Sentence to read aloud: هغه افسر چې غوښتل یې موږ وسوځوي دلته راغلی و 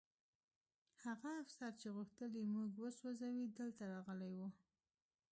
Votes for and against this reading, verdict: 0, 2, rejected